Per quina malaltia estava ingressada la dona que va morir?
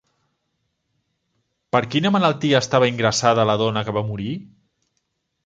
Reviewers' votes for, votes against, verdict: 3, 0, accepted